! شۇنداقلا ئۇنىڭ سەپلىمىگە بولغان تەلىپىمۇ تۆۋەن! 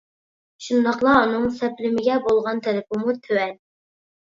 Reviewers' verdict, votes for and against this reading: accepted, 2, 0